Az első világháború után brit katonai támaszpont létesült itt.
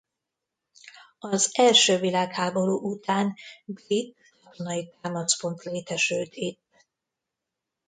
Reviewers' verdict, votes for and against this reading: rejected, 0, 3